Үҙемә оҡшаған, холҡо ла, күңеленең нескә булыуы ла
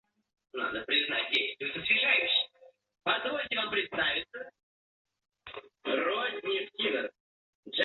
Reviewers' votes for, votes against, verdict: 0, 2, rejected